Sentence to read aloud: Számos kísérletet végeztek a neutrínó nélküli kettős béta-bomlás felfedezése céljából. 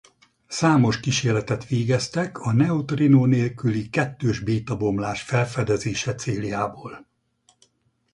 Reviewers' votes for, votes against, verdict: 2, 0, accepted